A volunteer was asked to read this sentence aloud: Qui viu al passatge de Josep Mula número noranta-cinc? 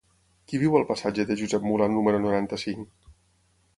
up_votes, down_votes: 6, 0